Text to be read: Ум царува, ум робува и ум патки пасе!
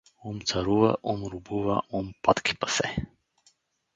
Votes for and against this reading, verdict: 2, 2, rejected